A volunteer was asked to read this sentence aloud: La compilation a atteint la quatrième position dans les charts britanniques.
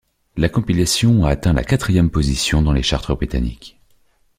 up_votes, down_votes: 2, 4